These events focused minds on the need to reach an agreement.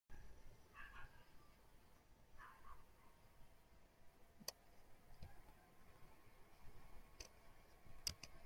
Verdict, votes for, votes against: rejected, 0, 2